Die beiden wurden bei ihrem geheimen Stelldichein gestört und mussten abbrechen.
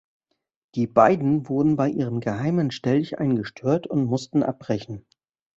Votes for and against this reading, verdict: 2, 1, accepted